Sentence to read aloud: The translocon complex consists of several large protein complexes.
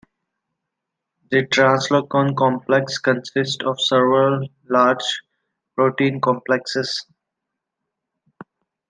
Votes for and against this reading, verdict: 2, 0, accepted